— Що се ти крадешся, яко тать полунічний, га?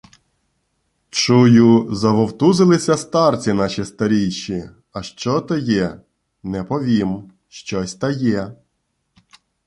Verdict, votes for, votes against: rejected, 0, 2